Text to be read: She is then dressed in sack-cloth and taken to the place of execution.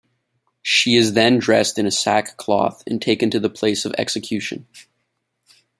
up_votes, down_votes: 0, 2